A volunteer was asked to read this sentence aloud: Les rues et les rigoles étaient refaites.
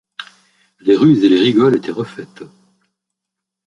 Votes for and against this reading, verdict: 2, 1, accepted